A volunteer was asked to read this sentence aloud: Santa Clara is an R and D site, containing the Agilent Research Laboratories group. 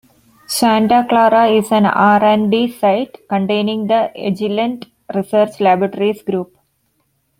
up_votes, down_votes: 2, 1